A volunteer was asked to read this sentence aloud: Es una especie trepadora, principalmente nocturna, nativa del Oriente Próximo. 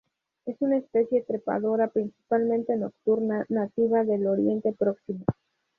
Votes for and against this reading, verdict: 0, 2, rejected